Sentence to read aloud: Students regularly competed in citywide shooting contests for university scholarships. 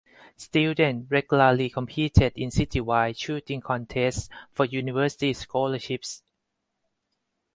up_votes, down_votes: 4, 2